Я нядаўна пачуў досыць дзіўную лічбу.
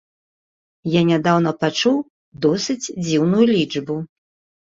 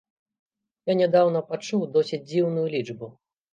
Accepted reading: first